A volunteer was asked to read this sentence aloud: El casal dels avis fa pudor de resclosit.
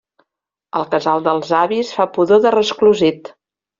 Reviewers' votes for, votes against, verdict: 2, 0, accepted